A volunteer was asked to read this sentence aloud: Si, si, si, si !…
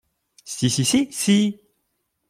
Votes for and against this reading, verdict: 2, 0, accepted